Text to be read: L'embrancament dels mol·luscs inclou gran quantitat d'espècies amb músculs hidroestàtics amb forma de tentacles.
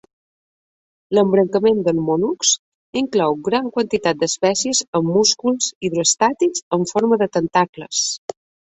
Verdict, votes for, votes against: accepted, 4, 0